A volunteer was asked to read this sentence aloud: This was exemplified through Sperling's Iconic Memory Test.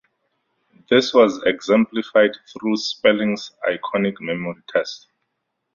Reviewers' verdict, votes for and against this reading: accepted, 4, 0